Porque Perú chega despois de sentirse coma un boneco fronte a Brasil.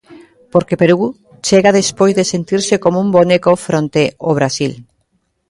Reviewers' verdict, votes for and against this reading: rejected, 0, 2